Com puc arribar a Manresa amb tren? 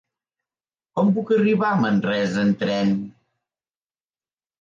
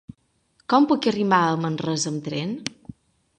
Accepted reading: first